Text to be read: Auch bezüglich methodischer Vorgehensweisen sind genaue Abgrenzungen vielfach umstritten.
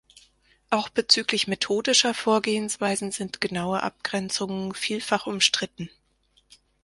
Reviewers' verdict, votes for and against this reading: accepted, 4, 0